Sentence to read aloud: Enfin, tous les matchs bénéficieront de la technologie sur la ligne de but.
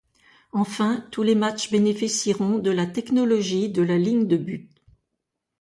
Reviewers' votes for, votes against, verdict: 0, 2, rejected